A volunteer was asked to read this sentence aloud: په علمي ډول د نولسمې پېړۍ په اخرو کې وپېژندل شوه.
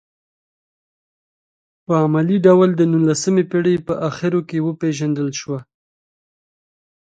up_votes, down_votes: 2, 1